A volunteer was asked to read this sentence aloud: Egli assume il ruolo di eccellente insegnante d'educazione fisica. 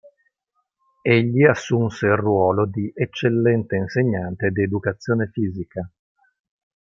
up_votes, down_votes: 0, 3